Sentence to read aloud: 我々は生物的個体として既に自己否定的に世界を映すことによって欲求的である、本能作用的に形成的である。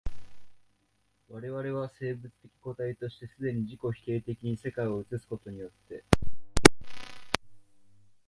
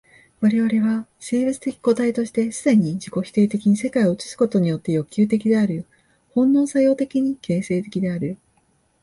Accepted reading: second